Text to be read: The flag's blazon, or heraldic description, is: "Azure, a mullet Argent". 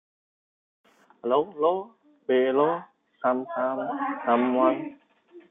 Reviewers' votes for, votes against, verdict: 0, 2, rejected